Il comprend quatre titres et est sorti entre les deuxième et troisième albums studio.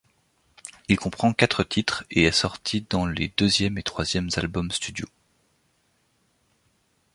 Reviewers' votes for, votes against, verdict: 0, 2, rejected